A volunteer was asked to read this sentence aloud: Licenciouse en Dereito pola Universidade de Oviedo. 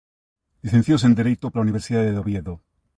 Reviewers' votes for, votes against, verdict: 2, 0, accepted